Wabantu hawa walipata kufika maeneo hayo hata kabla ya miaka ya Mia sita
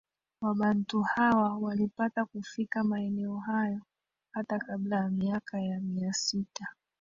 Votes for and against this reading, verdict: 1, 2, rejected